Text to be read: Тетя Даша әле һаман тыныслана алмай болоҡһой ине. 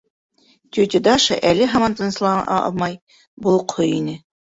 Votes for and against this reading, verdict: 1, 4, rejected